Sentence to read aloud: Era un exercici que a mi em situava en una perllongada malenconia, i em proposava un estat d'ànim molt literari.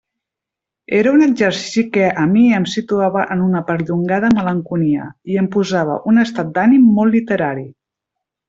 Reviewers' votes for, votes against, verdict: 2, 0, accepted